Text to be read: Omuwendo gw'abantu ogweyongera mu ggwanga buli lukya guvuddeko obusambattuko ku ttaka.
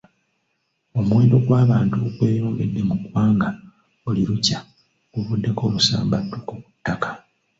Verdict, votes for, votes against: rejected, 0, 2